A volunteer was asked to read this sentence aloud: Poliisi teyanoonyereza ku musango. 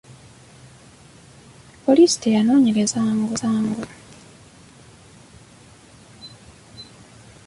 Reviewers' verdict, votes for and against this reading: rejected, 1, 2